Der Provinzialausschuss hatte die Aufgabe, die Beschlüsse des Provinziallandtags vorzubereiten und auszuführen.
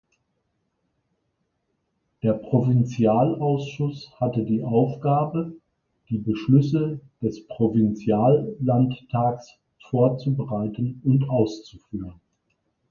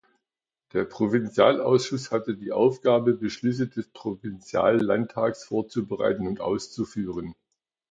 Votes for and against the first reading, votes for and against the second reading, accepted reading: 2, 0, 0, 2, first